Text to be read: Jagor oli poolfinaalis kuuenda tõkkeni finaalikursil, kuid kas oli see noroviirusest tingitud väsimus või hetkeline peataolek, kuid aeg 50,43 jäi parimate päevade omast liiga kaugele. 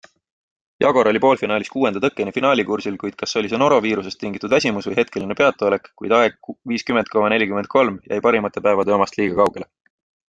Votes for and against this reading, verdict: 0, 2, rejected